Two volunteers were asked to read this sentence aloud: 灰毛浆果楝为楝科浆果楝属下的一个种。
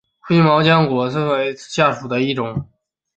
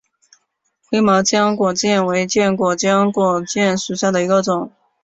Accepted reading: second